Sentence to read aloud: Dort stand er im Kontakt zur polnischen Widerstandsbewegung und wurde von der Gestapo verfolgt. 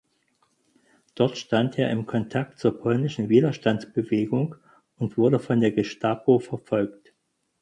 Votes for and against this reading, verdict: 4, 0, accepted